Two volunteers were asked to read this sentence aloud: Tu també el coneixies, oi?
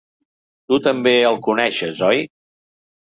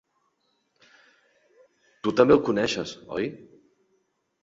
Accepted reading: second